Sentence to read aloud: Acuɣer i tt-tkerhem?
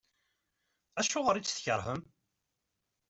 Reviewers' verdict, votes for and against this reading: accepted, 2, 1